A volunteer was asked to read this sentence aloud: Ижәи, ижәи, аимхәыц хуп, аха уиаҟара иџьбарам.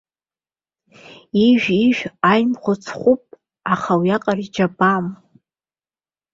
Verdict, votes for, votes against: rejected, 0, 2